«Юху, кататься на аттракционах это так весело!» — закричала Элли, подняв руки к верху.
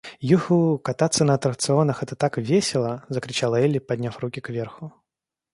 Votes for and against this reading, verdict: 2, 0, accepted